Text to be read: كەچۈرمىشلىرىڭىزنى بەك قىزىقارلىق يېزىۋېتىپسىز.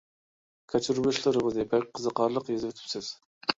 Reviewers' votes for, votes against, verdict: 2, 0, accepted